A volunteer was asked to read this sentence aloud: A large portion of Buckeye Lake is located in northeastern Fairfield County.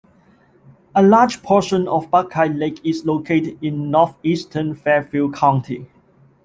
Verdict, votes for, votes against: accepted, 2, 0